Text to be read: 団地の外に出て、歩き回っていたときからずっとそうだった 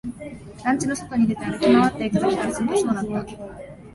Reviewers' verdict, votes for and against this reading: accepted, 2, 1